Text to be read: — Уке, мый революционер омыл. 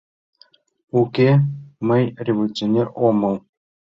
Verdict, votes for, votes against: accepted, 2, 0